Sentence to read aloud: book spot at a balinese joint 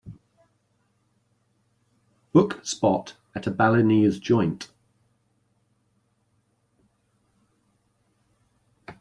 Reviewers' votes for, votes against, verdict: 2, 1, accepted